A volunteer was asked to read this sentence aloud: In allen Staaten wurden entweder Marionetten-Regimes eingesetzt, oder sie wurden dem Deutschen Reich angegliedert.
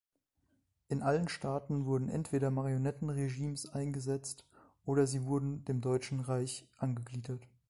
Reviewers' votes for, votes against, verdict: 2, 0, accepted